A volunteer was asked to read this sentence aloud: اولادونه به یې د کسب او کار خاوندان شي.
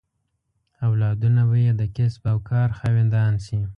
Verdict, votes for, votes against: rejected, 1, 2